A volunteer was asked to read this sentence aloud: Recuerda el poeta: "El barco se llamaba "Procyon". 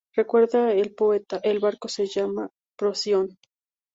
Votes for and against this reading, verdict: 2, 2, rejected